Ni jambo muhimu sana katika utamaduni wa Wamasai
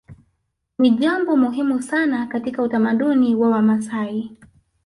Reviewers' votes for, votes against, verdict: 0, 2, rejected